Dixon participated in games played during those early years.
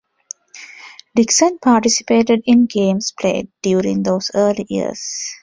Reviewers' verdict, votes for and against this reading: accepted, 2, 0